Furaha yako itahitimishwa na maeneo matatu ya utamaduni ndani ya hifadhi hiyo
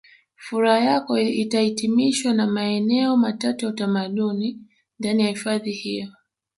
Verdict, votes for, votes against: accepted, 2, 0